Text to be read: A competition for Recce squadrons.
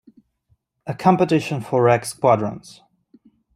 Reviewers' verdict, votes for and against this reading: accepted, 2, 1